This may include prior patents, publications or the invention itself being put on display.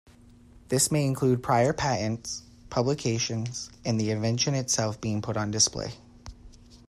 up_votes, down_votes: 1, 2